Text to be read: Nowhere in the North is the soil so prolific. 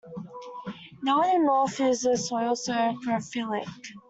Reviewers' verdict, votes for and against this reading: rejected, 0, 2